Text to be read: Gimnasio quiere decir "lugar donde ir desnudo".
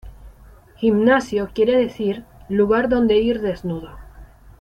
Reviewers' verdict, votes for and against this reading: accepted, 2, 0